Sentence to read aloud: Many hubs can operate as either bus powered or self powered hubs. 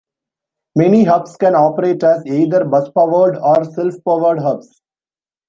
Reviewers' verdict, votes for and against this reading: accepted, 2, 0